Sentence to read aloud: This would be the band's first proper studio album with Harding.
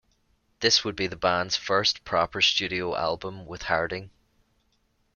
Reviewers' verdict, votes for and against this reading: accepted, 2, 0